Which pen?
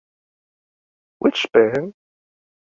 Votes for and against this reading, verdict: 2, 0, accepted